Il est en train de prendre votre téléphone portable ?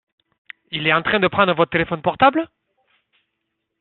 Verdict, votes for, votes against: accepted, 2, 1